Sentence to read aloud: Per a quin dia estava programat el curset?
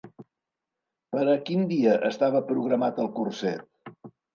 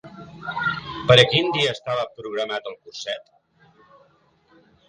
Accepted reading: first